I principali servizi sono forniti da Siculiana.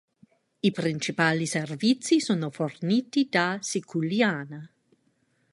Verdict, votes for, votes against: rejected, 1, 2